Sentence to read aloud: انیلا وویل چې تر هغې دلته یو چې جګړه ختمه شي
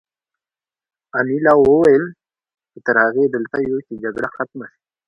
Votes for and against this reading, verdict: 1, 2, rejected